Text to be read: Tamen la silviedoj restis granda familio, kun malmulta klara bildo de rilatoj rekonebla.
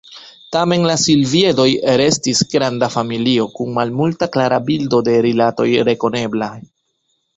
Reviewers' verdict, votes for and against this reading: rejected, 1, 2